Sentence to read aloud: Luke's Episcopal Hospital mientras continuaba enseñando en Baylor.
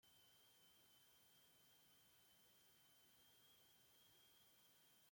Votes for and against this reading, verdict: 0, 2, rejected